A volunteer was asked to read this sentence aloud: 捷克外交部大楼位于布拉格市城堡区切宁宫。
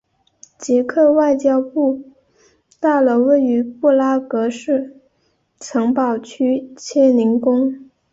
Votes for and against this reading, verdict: 4, 0, accepted